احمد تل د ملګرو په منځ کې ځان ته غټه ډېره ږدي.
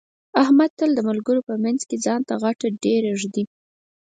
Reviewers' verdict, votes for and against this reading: accepted, 4, 0